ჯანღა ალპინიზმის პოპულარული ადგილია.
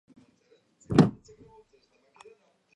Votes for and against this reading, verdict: 0, 2, rejected